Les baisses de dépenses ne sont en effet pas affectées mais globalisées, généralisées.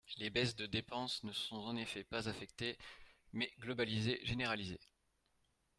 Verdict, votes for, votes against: rejected, 0, 4